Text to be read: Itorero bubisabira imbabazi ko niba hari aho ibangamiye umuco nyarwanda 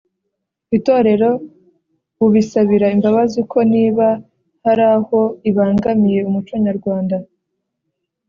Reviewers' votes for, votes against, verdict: 3, 0, accepted